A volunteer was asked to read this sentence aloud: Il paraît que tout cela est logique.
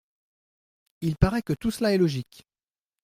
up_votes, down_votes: 2, 0